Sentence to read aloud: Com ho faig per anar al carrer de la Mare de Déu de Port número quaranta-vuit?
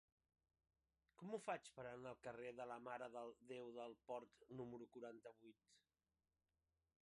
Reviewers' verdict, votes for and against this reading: rejected, 1, 2